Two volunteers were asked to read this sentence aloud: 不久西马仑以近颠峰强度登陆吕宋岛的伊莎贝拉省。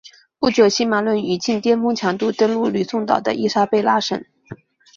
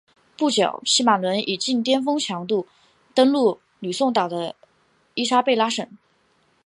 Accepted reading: first